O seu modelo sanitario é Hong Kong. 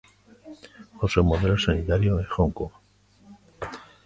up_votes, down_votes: 3, 0